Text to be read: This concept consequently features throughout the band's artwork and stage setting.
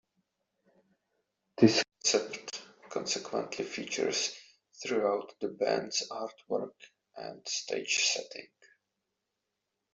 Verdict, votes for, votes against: rejected, 1, 2